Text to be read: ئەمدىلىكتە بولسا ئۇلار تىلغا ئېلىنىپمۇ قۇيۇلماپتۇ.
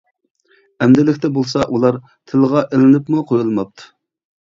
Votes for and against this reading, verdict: 2, 0, accepted